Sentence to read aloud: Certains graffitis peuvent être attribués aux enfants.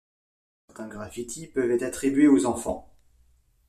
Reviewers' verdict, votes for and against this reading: rejected, 1, 2